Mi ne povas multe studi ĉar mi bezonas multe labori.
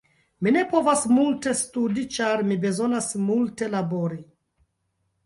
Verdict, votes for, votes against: rejected, 1, 2